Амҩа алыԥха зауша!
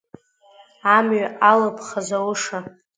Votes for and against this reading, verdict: 2, 0, accepted